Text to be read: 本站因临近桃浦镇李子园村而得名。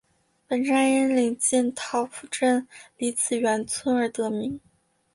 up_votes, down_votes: 1, 3